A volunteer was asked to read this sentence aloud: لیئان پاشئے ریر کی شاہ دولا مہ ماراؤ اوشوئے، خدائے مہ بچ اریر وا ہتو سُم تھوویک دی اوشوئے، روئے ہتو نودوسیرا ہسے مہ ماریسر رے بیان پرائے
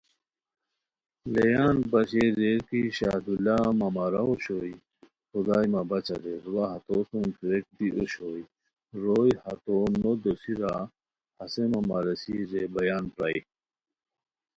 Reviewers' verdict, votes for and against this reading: accepted, 2, 0